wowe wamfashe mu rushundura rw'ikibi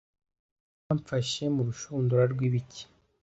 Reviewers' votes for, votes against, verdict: 1, 2, rejected